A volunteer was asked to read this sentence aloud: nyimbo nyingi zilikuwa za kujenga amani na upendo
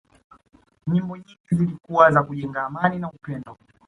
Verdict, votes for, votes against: accepted, 2, 0